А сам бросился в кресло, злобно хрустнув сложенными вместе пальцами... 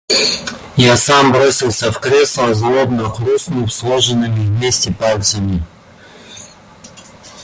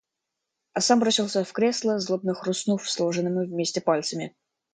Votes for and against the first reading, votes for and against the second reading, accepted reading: 0, 2, 2, 0, second